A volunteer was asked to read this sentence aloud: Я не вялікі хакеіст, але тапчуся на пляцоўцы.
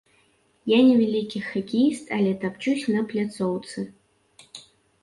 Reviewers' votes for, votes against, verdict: 2, 1, accepted